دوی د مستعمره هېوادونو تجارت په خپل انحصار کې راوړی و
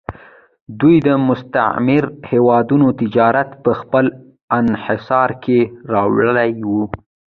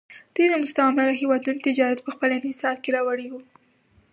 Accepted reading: second